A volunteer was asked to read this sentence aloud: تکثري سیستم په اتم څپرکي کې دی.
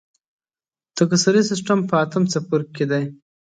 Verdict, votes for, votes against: accepted, 4, 1